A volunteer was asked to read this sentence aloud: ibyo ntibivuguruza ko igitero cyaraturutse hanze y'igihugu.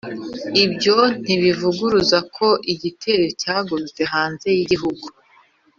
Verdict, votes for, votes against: rejected, 1, 2